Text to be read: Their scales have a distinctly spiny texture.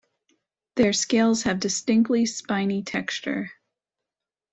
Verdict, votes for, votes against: rejected, 0, 2